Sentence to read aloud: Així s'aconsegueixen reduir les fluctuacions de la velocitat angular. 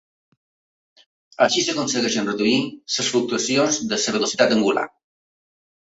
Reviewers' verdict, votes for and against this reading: accepted, 2, 1